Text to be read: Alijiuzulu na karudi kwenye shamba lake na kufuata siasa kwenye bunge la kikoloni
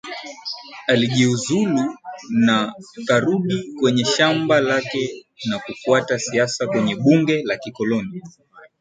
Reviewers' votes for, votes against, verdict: 7, 6, accepted